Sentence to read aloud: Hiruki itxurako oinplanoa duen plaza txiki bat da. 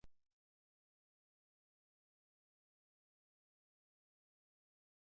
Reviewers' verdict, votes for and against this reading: rejected, 0, 2